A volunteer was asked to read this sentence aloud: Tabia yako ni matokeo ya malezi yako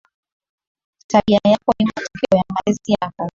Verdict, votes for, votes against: accepted, 16, 3